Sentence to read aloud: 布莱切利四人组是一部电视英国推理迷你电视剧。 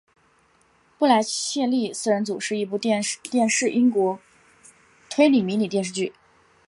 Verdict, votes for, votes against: accepted, 3, 0